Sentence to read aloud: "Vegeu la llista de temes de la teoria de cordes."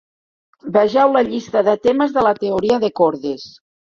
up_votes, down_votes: 5, 1